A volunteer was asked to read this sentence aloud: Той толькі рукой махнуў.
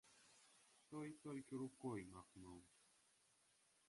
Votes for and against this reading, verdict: 0, 2, rejected